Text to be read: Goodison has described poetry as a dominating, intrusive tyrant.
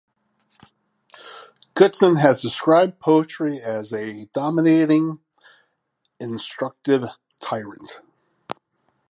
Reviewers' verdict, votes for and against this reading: rejected, 0, 2